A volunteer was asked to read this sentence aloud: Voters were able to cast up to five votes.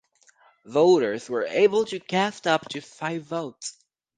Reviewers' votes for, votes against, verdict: 4, 0, accepted